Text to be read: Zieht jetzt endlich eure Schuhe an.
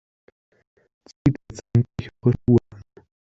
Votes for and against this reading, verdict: 0, 2, rejected